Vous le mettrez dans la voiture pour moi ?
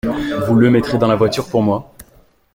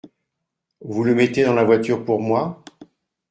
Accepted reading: first